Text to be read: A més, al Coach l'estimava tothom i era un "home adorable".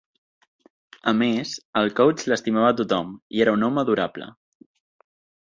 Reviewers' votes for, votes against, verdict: 2, 0, accepted